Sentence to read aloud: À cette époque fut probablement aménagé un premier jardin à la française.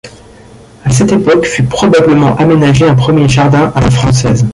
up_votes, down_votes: 0, 2